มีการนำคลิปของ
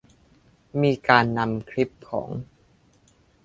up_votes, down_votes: 2, 0